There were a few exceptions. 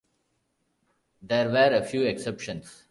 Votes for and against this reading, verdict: 2, 0, accepted